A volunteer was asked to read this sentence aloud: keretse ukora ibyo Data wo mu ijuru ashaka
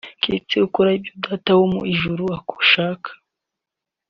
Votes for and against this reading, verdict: 1, 2, rejected